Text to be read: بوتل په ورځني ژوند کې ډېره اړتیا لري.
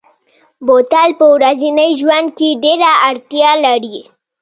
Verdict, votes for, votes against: rejected, 0, 2